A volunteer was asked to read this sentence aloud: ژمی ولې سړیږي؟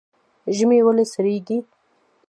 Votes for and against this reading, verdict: 2, 1, accepted